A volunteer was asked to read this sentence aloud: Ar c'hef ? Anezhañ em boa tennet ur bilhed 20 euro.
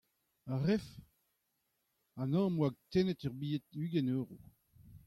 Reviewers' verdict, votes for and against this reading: rejected, 0, 2